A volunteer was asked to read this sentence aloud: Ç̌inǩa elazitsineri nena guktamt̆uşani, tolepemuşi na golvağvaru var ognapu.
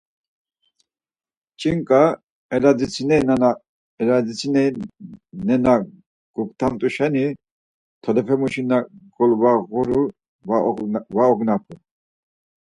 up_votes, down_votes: 0, 4